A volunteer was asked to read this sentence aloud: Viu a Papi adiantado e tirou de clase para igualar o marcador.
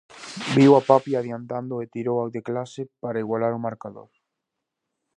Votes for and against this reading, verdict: 0, 2, rejected